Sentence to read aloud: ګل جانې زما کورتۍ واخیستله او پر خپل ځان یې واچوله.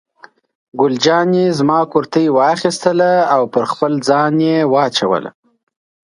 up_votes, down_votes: 2, 0